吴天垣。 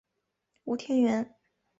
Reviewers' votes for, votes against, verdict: 2, 0, accepted